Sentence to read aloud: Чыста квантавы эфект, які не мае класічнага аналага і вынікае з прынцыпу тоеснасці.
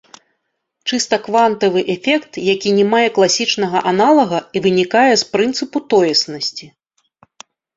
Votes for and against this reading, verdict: 2, 0, accepted